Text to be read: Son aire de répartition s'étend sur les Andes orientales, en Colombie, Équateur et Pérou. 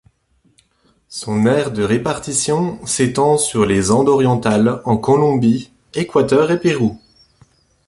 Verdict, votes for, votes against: accepted, 2, 0